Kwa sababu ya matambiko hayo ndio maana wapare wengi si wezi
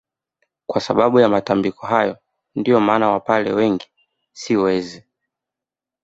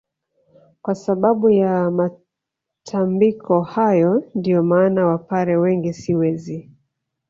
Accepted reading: first